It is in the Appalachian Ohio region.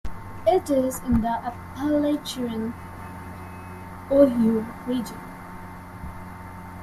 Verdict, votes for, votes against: rejected, 0, 2